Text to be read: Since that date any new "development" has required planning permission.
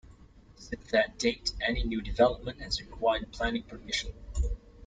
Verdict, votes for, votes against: accepted, 2, 0